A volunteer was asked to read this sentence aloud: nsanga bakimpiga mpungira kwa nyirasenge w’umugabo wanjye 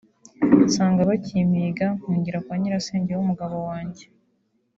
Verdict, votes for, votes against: accepted, 2, 0